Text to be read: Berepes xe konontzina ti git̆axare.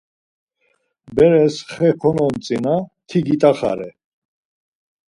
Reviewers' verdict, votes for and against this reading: rejected, 2, 4